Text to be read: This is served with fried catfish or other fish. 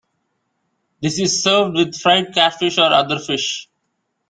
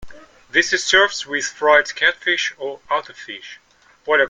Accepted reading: first